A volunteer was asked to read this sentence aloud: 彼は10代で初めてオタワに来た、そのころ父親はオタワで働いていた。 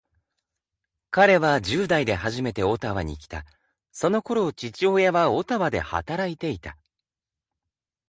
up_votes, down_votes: 0, 2